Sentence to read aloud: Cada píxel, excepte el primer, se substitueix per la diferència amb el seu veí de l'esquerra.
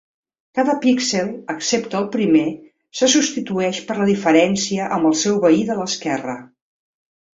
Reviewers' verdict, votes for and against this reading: accepted, 2, 0